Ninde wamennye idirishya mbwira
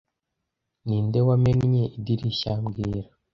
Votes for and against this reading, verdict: 2, 0, accepted